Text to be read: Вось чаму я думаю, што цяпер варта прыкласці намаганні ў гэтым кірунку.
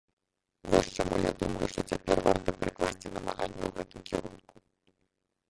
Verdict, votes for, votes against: rejected, 0, 2